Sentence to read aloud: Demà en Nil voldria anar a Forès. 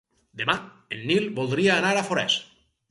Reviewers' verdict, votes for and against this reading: accepted, 4, 0